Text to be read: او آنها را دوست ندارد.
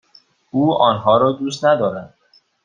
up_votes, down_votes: 2, 0